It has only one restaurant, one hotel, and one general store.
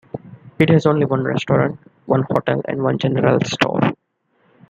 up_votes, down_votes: 2, 1